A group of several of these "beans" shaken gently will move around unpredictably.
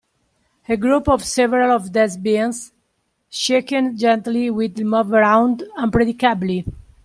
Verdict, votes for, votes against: rejected, 0, 2